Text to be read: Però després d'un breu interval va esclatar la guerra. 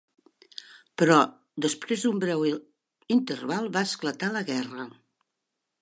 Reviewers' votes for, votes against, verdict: 0, 2, rejected